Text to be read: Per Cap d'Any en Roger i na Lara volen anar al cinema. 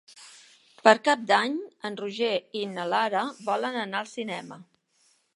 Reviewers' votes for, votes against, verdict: 4, 0, accepted